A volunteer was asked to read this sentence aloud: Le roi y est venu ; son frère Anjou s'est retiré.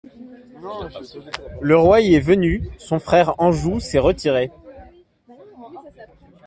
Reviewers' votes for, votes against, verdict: 2, 1, accepted